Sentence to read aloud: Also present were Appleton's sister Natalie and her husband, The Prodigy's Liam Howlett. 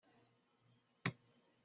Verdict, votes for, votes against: rejected, 0, 2